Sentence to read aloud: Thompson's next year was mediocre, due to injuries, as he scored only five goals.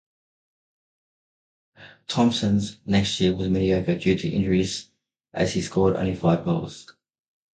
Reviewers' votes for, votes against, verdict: 0, 2, rejected